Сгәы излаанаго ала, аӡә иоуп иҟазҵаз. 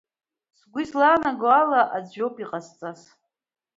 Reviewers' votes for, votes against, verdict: 2, 0, accepted